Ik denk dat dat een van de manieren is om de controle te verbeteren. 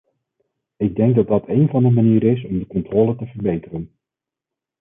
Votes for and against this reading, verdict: 2, 0, accepted